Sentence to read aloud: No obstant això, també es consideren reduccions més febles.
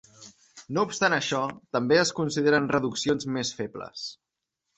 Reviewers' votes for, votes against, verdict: 3, 0, accepted